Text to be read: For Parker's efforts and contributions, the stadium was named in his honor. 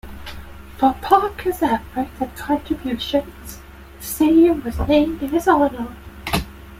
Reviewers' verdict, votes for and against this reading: rejected, 1, 2